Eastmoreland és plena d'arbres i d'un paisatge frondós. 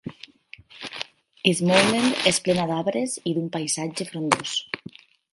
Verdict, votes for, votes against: rejected, 0, 6